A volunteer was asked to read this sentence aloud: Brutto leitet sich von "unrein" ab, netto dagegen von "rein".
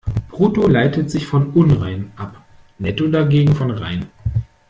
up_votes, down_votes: 1, 2